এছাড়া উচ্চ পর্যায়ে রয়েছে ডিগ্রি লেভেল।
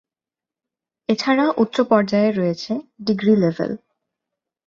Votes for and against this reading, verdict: 4, 0, accepted